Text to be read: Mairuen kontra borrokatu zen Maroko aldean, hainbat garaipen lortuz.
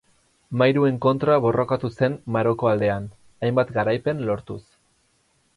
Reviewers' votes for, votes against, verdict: 4, 0, accepted